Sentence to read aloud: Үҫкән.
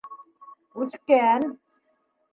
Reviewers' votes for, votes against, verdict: 3, 0, accepted